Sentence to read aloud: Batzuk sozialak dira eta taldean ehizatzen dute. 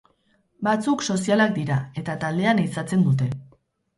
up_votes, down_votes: 2, 2